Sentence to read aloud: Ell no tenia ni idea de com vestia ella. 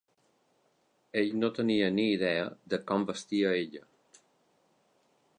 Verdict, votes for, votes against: accepted, 2, 0